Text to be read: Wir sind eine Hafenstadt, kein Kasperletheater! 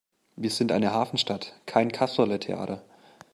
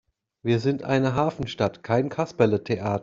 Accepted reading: first